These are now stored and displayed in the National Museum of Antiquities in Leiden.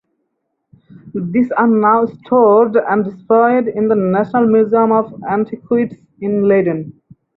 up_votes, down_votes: 2, 2